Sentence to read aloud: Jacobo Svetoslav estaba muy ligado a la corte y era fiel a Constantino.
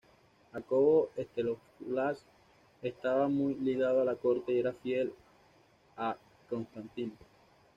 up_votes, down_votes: 1, 2